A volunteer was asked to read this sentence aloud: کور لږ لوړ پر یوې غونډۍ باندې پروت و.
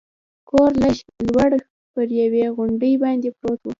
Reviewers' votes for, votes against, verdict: 1, 2, rejected